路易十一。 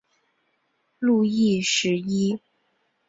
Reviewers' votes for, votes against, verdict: 3, 0, accepted